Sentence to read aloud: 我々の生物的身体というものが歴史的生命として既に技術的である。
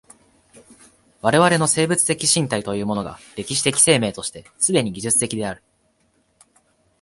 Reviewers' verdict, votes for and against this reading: accepted, 2, 0